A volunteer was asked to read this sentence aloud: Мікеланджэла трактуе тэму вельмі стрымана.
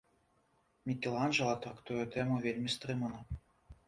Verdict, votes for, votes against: accepted, 3, 1